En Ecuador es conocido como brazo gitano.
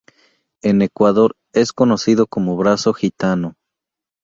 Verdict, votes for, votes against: accepted, 2, 0